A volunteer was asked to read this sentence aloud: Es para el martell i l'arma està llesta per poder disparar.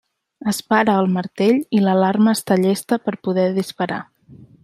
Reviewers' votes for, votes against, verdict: 0, 2, rejected